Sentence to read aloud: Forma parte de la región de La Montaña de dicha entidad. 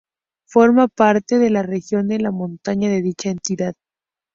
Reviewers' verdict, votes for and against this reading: accepted, 2, 0